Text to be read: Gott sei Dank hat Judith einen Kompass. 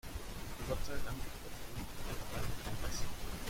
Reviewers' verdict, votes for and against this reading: rejected, 0, 2